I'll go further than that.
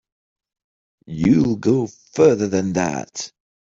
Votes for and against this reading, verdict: 0, 3, rejected